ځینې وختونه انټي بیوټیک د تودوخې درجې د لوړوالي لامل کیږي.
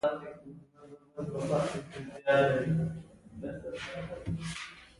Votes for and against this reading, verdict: 1, 2, rejected